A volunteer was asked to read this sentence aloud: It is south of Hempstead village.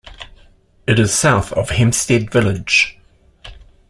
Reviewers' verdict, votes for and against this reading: accepted, 2, 0